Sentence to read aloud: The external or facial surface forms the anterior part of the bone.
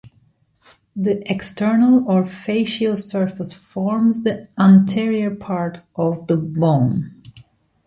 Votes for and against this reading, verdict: 2, 0, accepted